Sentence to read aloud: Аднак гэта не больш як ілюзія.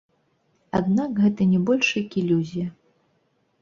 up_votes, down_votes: 0, 2